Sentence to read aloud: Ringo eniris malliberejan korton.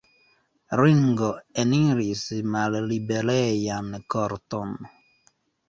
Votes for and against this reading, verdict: 1, 2, rejected